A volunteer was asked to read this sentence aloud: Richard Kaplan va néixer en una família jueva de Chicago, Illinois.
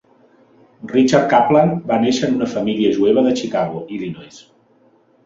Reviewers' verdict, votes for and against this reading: rejected, 0, 2